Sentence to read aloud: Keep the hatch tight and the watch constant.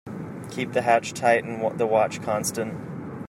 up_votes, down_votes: 0, 2